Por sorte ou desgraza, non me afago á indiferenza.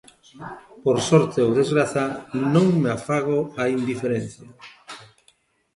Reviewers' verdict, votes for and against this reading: rejected, 1, 2